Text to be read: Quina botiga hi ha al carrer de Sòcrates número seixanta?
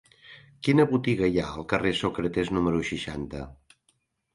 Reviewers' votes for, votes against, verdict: 1, 2, rejected